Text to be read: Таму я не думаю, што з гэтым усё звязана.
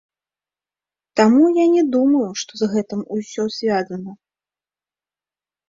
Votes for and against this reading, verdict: 1, 3, rejected